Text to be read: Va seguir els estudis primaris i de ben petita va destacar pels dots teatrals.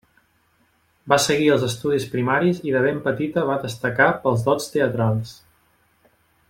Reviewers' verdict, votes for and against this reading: accepted, 2, 0